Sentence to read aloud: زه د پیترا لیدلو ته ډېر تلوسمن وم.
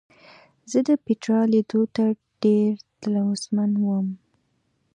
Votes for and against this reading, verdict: 2, 0, accepted